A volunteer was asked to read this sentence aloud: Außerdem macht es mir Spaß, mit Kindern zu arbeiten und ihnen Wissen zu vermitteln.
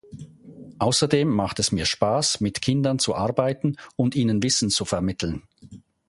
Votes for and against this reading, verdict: 2, 0, accepted